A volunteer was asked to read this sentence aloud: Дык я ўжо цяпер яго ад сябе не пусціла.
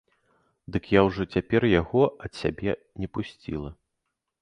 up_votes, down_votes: 2, 0